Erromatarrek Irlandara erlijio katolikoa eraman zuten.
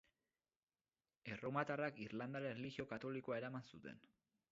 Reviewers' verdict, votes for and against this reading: rejected, 2, 6